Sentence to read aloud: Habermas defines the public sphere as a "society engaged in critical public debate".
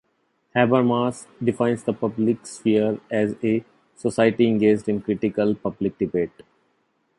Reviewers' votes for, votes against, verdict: 2, 0, accepted